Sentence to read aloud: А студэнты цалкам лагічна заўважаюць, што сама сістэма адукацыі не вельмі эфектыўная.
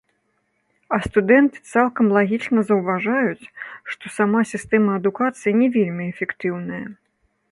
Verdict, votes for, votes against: rejected, 0, 2